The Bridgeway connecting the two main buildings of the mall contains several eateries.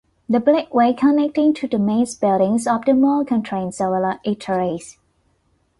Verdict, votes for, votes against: rejected, 0, 2